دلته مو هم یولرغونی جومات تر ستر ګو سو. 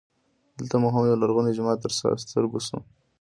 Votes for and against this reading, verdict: 1, 2, rejected